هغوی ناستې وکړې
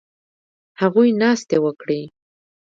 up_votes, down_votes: 3, 0